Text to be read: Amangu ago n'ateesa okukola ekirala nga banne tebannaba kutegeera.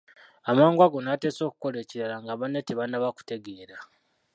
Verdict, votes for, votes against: rejected, 1, 2